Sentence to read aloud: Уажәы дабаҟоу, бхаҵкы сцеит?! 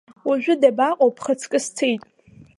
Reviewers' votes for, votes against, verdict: 2, 0, accepted